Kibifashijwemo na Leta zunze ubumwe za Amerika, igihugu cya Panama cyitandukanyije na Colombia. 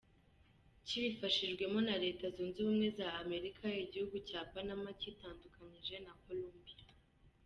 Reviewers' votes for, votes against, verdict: 1, 2, rejected